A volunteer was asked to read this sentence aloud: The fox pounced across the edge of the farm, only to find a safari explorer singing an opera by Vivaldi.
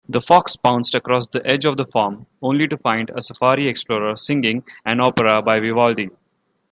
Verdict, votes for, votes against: accepted, 2, 0